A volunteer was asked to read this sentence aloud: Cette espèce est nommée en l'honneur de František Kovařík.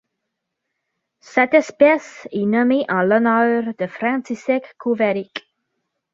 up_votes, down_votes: 2, 0